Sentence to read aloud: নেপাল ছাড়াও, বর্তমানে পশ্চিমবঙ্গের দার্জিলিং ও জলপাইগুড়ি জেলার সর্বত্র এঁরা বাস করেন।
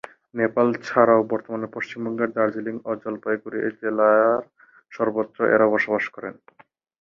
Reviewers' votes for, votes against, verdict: 0, 6, rejected